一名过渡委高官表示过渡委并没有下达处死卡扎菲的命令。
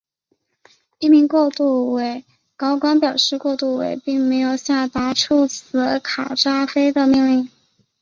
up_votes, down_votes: 3, 2